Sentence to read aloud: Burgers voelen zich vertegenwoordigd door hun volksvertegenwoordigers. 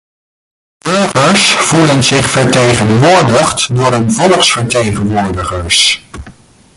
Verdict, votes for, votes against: rejected, 0, 2